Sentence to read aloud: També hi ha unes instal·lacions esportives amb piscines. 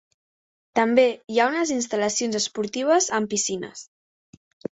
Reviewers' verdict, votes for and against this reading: accepted, 2, 0